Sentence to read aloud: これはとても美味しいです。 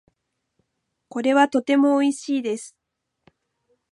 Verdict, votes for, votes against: accepted, 2, 0